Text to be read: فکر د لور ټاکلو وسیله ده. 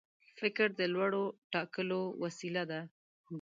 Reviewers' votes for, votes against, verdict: 1, 2, rejected